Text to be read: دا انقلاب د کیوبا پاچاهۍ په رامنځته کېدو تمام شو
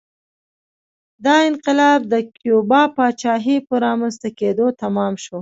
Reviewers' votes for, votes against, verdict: 2, 0, accepted